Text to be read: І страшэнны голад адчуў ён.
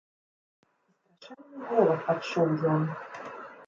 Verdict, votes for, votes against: rejected, 0, 2